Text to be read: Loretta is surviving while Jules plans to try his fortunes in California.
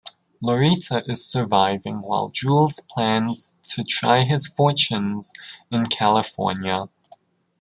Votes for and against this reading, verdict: 0, 2, rejected